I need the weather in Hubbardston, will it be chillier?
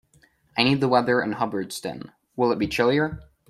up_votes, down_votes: 2, 0